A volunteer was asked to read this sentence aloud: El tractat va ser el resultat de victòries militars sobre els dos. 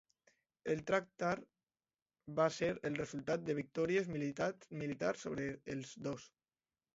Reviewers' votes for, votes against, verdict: 0, 2, rejected